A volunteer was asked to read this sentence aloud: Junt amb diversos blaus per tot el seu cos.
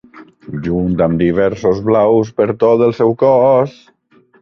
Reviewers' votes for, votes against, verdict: 1, 2, rejected